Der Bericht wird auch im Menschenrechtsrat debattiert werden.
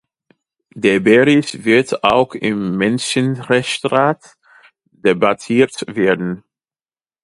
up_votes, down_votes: 0, 2